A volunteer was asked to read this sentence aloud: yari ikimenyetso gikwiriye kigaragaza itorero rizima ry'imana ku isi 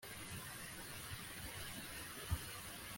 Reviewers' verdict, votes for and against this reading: rejected, 0, 2